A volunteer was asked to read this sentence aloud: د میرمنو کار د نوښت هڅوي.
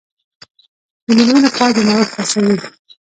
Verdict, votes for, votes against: rejected, 1, 2